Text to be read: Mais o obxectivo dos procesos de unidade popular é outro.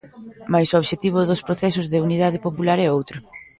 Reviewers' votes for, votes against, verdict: 1, 2, rejected